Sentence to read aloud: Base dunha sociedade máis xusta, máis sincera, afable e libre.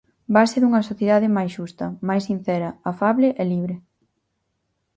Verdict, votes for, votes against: accepted, 4, 0